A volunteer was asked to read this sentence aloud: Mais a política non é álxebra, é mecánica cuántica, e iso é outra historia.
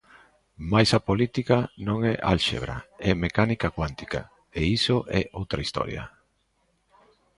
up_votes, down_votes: 2, 0